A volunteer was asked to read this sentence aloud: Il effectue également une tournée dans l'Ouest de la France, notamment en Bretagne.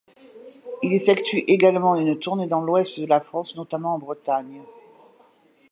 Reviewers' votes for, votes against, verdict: 2, 0, accepted